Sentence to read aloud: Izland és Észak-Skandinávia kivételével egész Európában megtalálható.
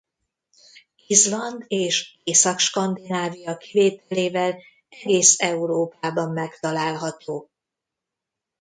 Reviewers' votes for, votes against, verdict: 0, 2, rejected